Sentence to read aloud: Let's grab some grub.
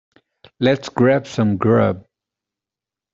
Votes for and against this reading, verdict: 2, 0, accepted